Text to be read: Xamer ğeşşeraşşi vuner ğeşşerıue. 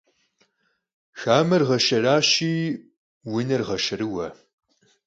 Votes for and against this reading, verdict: 2, 4, rejected